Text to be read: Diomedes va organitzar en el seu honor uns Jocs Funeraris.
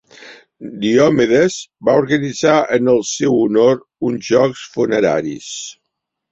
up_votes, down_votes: 3, 0